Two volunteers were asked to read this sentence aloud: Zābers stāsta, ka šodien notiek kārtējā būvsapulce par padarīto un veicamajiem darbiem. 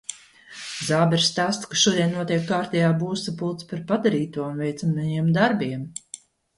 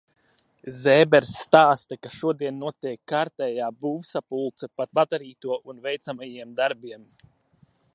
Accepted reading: first